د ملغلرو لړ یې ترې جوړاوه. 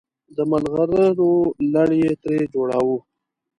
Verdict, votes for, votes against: accepted, 2, 0